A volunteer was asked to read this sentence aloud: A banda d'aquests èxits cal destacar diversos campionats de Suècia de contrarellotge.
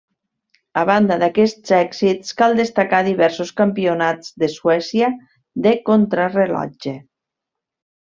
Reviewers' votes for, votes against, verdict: 1, 2, rejected